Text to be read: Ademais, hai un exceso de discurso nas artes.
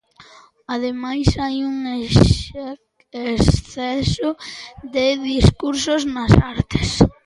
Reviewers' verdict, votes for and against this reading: rejected, 0, 2